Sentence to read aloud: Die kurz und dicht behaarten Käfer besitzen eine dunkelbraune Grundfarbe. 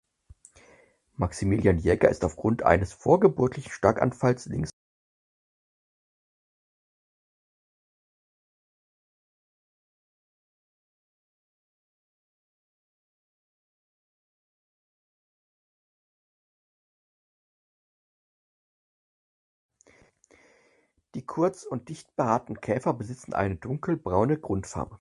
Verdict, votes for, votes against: rejected, 0, 4